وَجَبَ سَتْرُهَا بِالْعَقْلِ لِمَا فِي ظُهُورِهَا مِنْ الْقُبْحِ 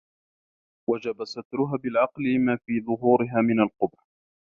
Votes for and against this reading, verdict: 1, 2, rejected